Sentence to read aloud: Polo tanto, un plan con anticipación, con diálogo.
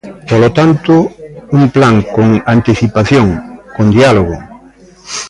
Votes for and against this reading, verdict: 1, 2, rejected